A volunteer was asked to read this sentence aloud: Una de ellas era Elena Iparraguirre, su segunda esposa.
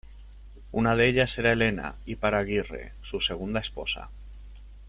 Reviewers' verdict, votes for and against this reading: rejected, 1, 2